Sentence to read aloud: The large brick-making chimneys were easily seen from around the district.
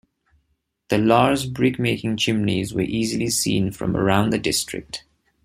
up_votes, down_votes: 2, 0